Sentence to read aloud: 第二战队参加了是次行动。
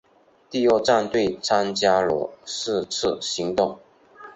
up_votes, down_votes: 3, 0